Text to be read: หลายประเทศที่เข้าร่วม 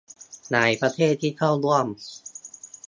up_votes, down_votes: 2, 0